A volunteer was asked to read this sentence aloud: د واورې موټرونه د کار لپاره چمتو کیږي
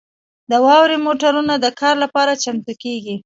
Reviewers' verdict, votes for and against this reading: rejected, 1, 2